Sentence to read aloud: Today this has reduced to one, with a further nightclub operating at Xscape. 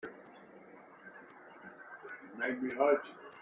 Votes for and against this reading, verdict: 0, 2, rejected